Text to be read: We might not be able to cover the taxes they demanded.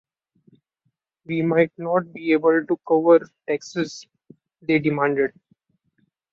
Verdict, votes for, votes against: accepted, 2, 0